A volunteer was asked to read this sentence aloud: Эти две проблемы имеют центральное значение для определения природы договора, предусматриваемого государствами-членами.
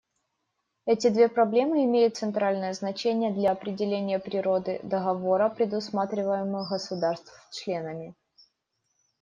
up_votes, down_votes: 0, 2